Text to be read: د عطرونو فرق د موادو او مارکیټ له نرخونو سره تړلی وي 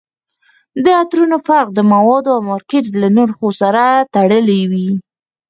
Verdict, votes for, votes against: rejected, 0, 4